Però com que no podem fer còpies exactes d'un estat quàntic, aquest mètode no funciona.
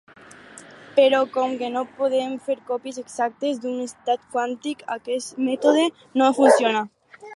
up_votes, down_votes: 4, 0